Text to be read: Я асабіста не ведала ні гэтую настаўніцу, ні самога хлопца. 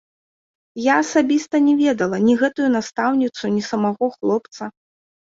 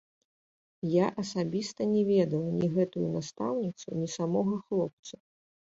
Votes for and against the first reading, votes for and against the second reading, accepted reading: 1, 2, 2, 0, second